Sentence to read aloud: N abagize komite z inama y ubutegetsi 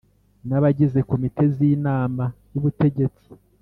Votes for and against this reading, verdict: 2, 0, accepted